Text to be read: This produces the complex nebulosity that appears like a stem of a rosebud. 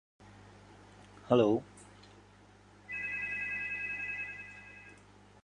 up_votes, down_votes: 0, 2